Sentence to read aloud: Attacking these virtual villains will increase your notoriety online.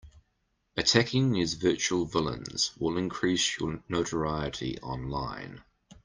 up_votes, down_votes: 2, 0